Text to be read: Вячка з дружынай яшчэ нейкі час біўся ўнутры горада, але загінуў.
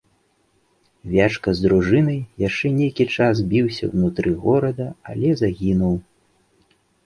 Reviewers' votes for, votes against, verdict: 2, 0, accepted